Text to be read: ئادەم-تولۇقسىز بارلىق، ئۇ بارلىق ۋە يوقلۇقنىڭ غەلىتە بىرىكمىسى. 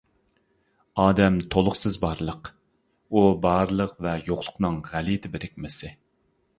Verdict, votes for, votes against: accepted, 2, 0